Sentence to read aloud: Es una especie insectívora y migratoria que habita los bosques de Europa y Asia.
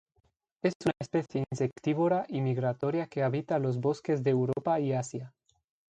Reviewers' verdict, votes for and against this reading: rejected, 0, 2